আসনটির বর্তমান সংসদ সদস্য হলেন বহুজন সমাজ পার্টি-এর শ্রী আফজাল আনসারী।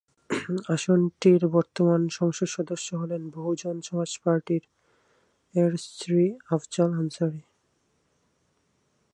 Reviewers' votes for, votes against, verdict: 4, 0, accepted